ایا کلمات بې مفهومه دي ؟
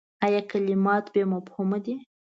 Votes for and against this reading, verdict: 2, 0, accepted